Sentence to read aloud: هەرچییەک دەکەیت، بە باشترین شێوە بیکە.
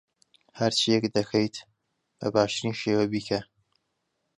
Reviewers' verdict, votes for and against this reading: accepted, 2, 0